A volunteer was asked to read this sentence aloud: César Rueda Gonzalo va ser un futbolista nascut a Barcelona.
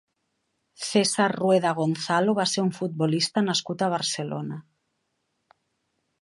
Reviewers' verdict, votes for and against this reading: accepted, 3, 0